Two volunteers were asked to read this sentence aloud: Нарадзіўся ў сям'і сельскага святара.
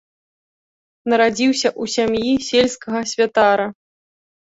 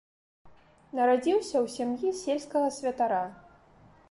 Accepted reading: second